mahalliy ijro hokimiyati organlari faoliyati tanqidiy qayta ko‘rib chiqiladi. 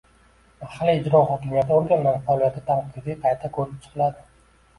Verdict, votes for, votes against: rejected, 1, 2